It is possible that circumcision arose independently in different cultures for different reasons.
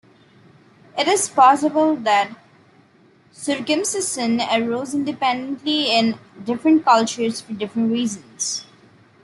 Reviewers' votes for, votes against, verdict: 1, 2, rejected